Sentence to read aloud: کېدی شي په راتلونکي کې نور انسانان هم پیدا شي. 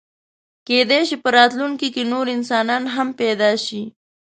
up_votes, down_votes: 2, 0